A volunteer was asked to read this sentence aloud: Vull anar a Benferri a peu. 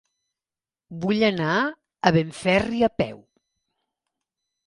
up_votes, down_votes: 3, 0